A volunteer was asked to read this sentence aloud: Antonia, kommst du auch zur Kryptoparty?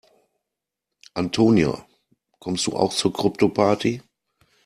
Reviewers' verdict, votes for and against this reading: accepted, 2, 0